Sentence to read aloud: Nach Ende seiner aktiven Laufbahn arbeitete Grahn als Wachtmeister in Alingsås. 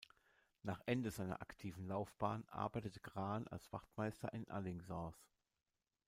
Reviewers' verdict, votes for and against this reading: accepted, 2, 0